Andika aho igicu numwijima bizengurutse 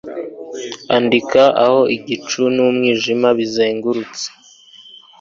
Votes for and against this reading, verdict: 3, 0, accepted